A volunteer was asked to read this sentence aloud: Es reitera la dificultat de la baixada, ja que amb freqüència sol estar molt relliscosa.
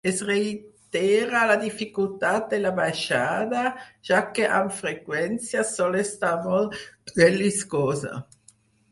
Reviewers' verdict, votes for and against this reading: accepted, 4, 0